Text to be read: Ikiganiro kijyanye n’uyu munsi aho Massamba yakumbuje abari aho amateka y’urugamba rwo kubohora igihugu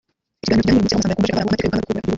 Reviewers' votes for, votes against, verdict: 0, 2, rejected